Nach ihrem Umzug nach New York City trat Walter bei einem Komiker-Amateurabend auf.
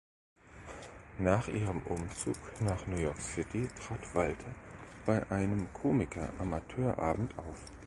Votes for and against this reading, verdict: 1, 2, rejected